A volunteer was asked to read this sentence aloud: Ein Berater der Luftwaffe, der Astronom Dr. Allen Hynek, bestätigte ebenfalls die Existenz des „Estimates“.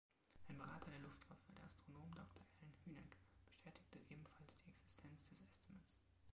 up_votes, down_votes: 1, 2